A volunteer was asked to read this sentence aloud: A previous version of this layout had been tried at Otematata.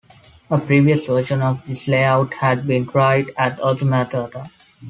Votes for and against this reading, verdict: 2, 1, accepted